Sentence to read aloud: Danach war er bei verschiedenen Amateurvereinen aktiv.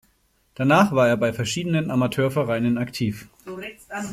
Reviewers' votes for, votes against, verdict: 0, 2, rejected